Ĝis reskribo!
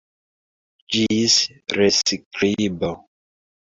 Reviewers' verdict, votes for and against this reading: rejected, 2, 3